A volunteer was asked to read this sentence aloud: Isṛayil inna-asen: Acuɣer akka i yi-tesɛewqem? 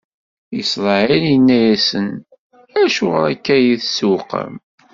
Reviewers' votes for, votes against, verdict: 2, 1, accepted